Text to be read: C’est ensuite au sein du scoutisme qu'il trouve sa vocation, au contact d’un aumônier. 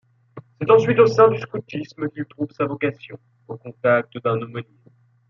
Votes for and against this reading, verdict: 2, 0, accepted